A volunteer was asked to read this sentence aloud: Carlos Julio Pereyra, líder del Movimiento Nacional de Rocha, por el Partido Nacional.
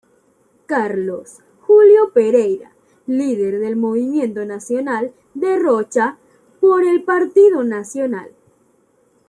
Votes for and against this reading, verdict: 2, 0, accepted